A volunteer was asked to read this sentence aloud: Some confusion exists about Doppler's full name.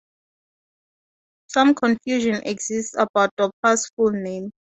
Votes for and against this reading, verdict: 2, 0, accepted